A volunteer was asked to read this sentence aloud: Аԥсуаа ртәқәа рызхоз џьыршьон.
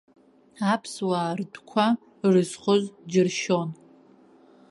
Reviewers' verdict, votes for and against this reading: rejected, 1, 2